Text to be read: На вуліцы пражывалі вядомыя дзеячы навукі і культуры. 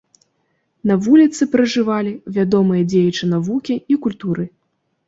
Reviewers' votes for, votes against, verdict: 2, 0, accepted